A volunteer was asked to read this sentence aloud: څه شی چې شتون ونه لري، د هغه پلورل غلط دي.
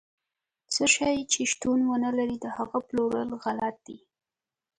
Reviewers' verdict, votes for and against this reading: accepted, 2, 0